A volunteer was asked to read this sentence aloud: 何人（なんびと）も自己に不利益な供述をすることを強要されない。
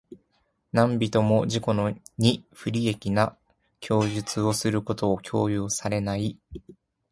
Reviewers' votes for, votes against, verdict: 1, 2, rejected